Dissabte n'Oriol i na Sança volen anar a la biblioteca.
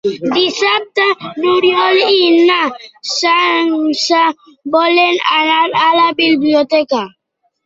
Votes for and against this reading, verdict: 2, 1, accepted